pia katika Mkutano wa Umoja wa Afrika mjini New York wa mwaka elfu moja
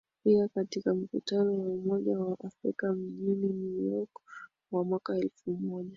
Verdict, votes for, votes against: accepted, 2, 0